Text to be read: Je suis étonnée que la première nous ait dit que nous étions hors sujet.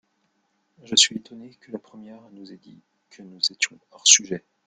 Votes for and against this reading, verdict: 1, 2, rejected